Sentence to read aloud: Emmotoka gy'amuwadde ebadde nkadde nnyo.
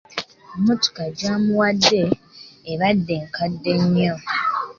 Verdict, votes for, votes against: accepted, 2, 0